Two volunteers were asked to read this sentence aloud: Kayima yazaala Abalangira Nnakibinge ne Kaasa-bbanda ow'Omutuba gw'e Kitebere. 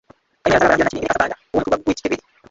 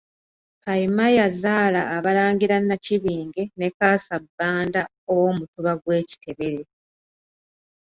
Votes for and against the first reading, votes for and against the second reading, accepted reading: 0, 2, 2, 0, second